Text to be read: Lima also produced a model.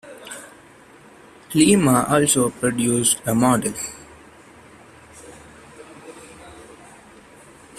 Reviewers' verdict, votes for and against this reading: accepted, 2, 0